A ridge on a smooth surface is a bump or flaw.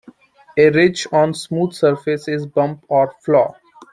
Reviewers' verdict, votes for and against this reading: rejected, 1, 2